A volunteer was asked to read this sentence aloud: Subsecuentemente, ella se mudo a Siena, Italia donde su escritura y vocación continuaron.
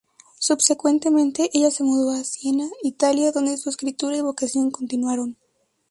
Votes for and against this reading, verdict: 0, 2, rejected